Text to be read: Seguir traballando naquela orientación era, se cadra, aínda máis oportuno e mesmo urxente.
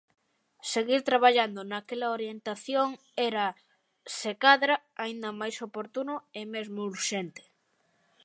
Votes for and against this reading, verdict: 2, 0, accepted